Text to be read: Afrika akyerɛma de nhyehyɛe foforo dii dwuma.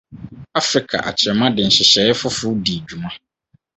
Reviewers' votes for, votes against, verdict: 4, 0, accepted